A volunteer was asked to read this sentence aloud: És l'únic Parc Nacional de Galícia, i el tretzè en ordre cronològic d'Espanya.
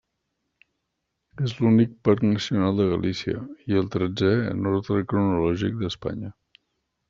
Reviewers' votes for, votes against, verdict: 2, 1, accepted